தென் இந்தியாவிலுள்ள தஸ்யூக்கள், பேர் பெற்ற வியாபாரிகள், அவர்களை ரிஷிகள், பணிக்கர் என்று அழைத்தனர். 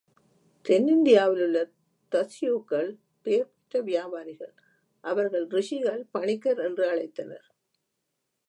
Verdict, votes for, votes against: rejected, 1, 2